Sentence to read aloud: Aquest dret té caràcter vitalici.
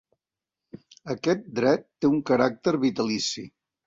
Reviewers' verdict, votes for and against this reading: rejected, 1, 2